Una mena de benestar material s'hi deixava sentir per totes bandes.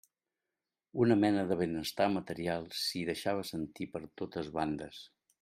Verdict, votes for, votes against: accepted, 3, 0